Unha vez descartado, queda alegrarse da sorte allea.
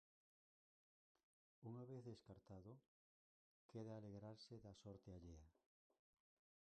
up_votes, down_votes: 0, 4